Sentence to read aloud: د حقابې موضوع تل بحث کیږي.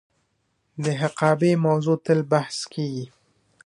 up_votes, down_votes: 2, 1